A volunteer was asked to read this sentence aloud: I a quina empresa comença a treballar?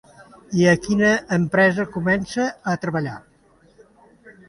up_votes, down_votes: 2, 0